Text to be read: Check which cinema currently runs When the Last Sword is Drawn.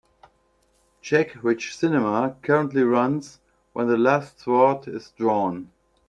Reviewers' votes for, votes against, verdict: 2, 0, accepted